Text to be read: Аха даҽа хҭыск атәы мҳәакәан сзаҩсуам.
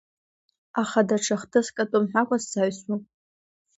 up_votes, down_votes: 2, 0